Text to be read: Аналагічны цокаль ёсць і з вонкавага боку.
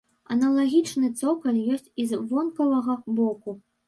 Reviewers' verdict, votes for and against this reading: accepted, 2, 0